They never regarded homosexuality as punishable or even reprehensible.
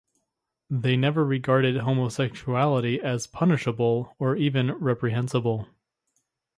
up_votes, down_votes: 2, 0